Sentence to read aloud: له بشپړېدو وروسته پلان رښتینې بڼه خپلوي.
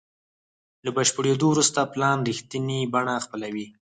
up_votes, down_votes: 0, 4